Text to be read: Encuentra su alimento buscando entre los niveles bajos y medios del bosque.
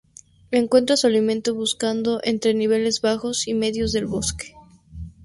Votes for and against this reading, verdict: 0, 2, rejected